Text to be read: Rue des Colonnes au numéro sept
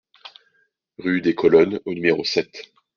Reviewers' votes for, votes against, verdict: 2, 0, accepted